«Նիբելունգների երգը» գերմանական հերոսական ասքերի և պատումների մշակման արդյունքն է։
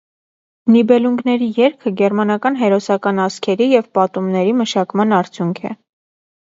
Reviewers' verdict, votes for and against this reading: rejected, 1, 2